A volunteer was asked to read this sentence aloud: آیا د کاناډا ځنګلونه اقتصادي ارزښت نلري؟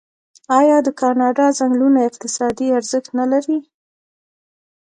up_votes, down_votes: 2, 0